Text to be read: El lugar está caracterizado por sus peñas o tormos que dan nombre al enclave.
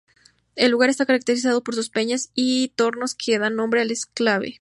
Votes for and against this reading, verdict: 0, 2, rejected